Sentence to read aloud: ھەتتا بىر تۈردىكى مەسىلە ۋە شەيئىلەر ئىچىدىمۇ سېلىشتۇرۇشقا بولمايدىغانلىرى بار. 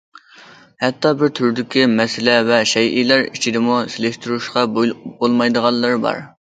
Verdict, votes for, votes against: rejected, 0, 2